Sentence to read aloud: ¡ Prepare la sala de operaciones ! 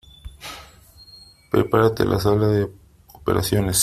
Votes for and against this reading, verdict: 0, 3, rejected